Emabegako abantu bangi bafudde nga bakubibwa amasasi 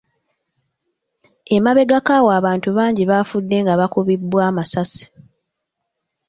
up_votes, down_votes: 1, 3